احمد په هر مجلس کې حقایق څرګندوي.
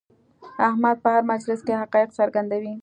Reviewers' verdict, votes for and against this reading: accepted, 2, 0